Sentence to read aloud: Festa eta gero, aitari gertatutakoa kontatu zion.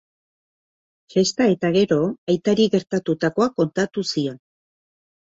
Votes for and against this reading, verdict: 3, 0, accepted